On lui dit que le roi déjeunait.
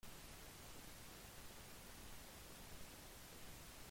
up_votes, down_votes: 0, 2